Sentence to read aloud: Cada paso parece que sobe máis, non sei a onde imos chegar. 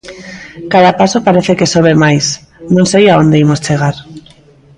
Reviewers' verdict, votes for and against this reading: rejected, 1, 2